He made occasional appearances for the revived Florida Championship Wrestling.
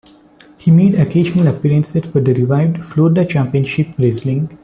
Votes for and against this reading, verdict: 1, 2, rejected